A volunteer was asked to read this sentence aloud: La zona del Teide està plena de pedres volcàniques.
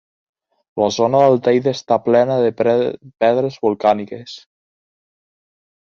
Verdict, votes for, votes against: rejected, 1, 2